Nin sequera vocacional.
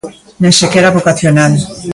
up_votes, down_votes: 2, 0